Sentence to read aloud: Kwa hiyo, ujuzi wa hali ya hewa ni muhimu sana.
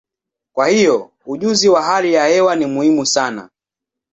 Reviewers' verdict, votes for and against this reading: accepted, 6, 0